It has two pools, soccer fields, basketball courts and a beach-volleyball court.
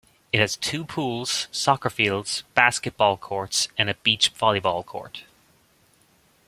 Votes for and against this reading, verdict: 2, 0, accepted